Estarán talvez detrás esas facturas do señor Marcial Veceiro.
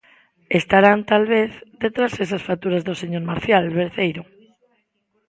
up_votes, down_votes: 0, 2